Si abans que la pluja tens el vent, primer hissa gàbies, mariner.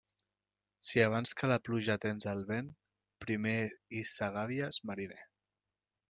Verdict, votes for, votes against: accepted, 2, 0